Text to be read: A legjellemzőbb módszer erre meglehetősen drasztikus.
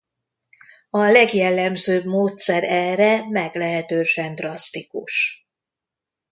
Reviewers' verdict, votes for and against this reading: accepted, 2, 0